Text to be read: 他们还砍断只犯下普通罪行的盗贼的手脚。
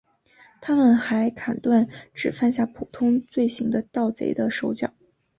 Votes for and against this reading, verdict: 5, 0, accepted